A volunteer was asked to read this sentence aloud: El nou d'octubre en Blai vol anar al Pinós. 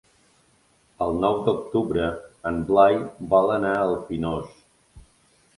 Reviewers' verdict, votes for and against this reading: accepted, 2, 0